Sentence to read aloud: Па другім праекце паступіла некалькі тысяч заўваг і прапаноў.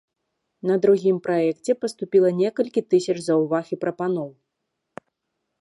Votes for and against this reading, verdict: 0, 2, rejected